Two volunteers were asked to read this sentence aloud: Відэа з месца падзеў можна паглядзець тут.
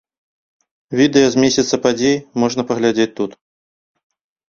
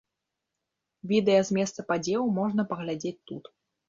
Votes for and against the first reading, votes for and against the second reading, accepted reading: 1, 2, 2, 0, second